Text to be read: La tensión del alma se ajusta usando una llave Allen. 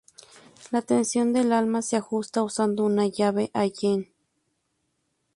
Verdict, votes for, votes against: accepted, 2, 0